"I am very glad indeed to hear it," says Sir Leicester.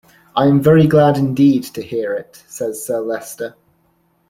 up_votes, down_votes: 2, 0